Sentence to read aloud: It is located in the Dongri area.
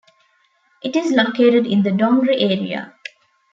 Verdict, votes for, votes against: accepted, 2, 0